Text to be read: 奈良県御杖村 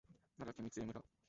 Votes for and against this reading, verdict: 0, 2, rejected